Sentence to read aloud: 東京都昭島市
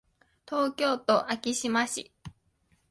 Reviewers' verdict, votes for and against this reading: accepted, 2, 0